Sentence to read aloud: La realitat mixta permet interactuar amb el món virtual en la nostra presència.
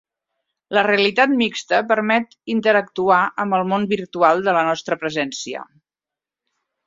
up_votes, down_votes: 0, 2